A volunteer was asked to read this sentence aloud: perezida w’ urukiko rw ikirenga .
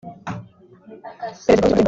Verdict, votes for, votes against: rejected, 0, 2